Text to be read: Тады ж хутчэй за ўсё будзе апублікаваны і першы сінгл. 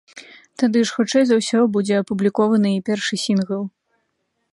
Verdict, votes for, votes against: rejected, 1, 2